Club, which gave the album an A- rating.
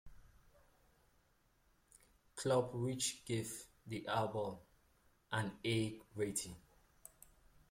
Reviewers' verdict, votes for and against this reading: accepted, 2, 0